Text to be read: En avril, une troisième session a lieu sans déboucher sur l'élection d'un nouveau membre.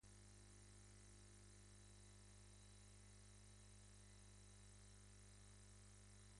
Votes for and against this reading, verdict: 1, 2, rejected